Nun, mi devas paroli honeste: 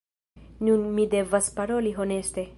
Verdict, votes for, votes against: rejected, 1, 2